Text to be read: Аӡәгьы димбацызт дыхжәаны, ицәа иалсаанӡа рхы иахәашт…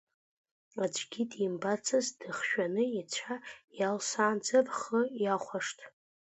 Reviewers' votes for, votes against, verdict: 2, 0, accepted